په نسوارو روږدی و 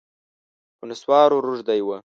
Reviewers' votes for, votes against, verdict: 2, 0, accepted